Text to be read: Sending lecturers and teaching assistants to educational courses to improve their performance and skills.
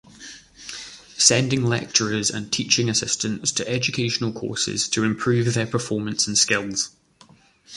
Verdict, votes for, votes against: accepted, 2, 0